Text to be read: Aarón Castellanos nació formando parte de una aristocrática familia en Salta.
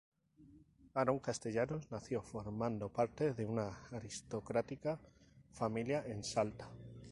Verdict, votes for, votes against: rejected, 0, 2